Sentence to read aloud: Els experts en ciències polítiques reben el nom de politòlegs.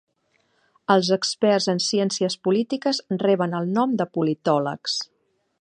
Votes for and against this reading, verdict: 3, 0, accepted